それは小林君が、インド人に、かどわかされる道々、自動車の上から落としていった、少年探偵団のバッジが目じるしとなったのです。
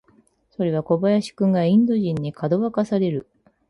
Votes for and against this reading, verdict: 2, 10, rejected